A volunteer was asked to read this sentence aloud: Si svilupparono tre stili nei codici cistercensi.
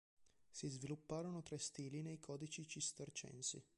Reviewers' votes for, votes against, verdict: 0, 2, rejected